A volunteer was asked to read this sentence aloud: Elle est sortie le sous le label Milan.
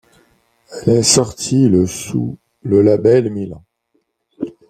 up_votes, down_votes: 1, 2